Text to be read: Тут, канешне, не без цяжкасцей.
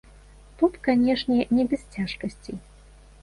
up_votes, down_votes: 2, 1